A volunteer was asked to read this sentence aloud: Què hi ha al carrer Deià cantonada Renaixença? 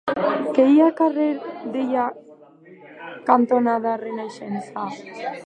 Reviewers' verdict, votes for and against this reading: rejected, 1, 2